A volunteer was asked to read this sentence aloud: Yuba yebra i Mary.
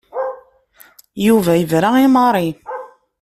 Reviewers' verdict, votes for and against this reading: accepted, 2, 0